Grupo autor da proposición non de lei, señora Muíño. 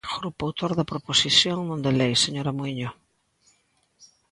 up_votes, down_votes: 2, 0